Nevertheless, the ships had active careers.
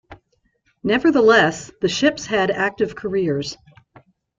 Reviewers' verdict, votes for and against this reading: accepted, 2, 0